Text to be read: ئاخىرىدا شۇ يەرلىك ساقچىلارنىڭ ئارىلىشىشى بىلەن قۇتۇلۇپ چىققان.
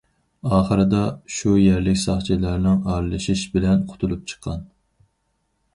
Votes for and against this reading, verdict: 0, 4, rejected